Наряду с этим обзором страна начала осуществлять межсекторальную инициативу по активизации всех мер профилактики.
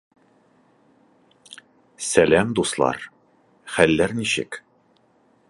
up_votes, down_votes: 0, 2